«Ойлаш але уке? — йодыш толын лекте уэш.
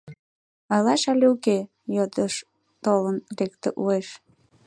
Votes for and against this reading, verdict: 2, 3, rejected